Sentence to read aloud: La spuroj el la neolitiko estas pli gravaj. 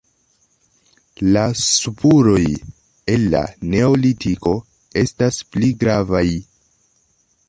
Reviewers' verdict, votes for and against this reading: accepted, 2, 1